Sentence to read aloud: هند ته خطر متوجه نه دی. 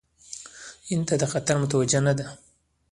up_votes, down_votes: 2, 0